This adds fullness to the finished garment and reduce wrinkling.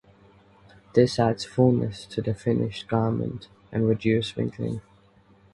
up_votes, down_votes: 4, 0